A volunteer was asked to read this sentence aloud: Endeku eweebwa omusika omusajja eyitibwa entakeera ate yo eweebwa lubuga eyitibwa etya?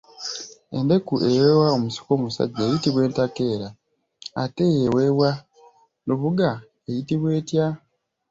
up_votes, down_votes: 0, 2